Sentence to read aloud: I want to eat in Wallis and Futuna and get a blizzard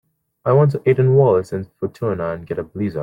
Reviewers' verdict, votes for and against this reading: rejected, 0, 2